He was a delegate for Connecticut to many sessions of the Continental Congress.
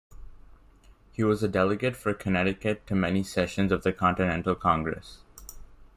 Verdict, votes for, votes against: rejected, 1, 2